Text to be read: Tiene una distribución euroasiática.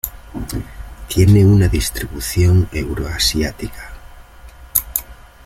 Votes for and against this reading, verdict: 1, 2, rejected